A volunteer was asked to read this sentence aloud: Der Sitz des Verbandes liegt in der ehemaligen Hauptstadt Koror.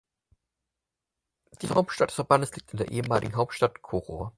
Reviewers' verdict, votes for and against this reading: rejected, 0, 6